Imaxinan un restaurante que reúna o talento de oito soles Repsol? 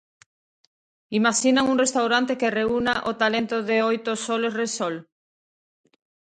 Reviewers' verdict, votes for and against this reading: accepted, 2, 0